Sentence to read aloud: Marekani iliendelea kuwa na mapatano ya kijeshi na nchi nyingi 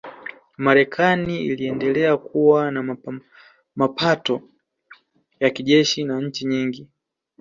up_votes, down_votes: 0, 2